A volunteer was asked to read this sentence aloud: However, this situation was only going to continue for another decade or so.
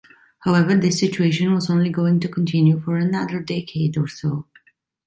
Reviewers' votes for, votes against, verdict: 2, 0, accepted